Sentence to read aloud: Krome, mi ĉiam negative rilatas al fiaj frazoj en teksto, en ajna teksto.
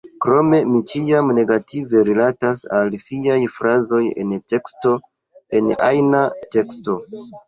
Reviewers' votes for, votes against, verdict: 1, 2, rejected